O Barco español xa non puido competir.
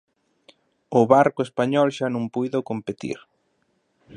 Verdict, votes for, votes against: accepted, 2, 0